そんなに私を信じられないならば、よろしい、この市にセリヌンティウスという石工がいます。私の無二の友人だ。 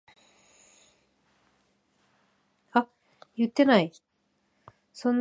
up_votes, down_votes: 1, 6